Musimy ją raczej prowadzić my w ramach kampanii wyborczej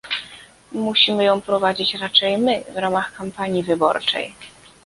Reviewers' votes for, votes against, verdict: 0, 2, rejected